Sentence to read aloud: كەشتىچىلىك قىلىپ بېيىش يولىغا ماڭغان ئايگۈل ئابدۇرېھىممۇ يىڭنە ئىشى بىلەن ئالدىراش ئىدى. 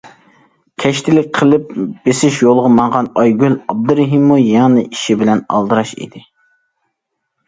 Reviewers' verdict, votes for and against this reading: rejected, 0, 2